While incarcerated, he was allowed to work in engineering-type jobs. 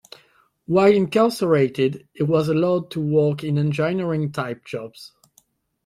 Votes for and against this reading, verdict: 1, 2, rejected